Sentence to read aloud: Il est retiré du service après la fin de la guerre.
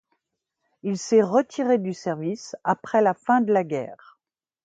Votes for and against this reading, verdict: 0, 2, rejected